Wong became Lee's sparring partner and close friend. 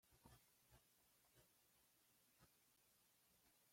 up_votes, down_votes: 0, 2